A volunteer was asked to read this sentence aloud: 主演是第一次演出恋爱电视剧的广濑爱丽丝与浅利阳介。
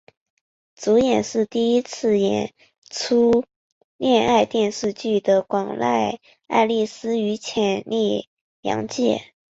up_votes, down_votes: 1, 3